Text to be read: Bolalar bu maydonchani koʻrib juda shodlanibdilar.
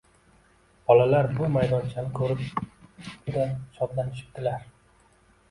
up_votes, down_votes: 1, 2